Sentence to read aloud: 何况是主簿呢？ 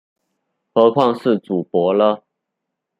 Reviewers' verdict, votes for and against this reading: rejected, 0, 2